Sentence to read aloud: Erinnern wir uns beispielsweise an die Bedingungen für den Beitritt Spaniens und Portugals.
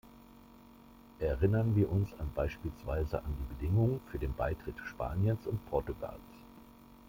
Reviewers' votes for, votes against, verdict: 1, 2, rejected